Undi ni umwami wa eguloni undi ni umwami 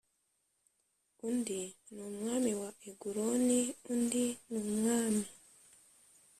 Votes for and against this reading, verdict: 2, 0, accepted